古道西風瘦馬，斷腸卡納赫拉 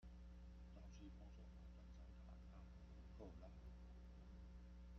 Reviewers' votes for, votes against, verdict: 0, 2, rejected